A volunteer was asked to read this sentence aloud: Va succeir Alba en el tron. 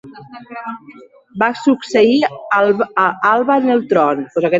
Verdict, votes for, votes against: rejected, 0, 2